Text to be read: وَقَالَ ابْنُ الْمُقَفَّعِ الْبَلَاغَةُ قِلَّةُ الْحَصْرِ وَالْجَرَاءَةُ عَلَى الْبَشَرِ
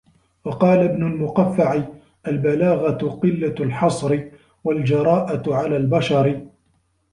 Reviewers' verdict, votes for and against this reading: accepted, 2, 0